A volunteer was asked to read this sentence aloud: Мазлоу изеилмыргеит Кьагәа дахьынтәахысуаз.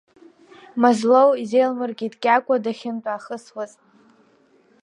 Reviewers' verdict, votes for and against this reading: rejected, 2, 3